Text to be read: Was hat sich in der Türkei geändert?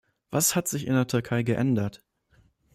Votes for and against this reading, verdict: 2, 0, accepted